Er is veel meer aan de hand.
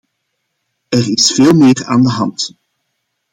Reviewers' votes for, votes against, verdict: 2, 0, accepted